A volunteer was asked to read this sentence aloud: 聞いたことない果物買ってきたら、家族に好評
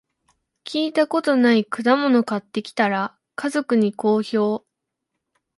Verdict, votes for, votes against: accepted, 2, 0